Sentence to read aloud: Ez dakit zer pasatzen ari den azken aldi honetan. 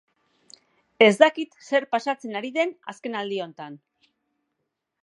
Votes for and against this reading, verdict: 3, 1, accepted